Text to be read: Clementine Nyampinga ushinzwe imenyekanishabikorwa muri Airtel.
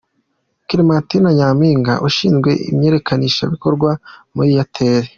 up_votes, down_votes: 2, 0